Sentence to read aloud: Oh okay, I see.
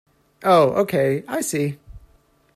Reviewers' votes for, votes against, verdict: 2, 0, accepted